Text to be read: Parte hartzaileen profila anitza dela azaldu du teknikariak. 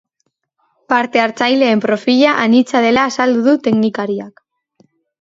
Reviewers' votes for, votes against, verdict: 3, 0, accepted